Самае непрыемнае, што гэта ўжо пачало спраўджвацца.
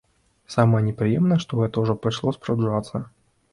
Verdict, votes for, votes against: rejected, 0, 2